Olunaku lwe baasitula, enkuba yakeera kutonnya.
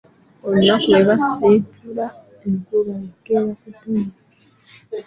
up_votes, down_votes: 0, 2